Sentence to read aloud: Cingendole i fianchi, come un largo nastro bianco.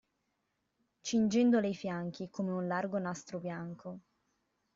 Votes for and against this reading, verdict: 2, 1, accepted